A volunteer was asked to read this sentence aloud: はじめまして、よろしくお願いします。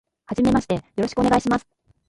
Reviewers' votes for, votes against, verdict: 0, 2, rejected